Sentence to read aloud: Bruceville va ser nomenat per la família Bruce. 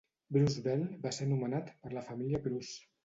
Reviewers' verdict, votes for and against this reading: accepted, 2, 0